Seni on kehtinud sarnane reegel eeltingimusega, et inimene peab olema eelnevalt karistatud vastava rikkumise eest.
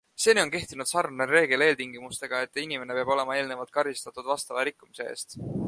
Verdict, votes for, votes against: accepted, 2, 0